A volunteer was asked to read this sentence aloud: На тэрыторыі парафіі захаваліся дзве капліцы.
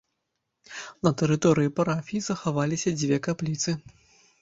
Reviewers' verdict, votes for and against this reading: accepted, 2, 0